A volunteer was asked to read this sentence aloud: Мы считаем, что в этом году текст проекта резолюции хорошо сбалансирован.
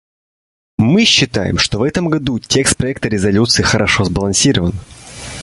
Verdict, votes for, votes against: accepted, 2, 0